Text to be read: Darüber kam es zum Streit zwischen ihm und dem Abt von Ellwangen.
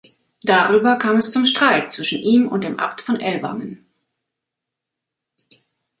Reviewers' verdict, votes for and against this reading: accepted, 2, 0